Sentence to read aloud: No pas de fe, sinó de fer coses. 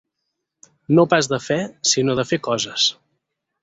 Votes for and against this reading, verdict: 8, 0, accepted